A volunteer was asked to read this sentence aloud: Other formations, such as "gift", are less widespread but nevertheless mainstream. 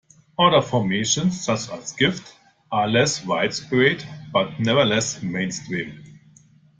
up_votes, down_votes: 2, 0